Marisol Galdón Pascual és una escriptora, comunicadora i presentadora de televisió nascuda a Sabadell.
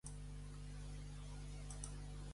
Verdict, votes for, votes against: rejected, 0, 2